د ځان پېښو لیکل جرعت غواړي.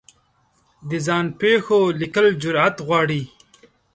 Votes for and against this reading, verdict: 2, 0, accepted